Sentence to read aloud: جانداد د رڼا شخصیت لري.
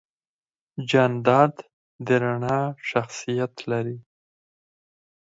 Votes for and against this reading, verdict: 2, 4, rejected